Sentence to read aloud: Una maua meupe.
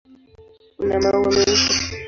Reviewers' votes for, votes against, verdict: 0, 2, rejected